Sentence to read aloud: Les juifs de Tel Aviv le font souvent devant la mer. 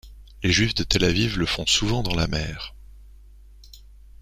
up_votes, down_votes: 1, 2